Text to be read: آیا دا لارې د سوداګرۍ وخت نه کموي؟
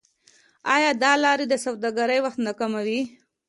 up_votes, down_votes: 2, 0